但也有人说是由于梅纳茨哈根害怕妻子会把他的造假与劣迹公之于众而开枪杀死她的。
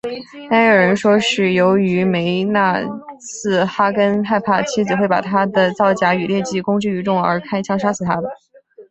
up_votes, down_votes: 2, 0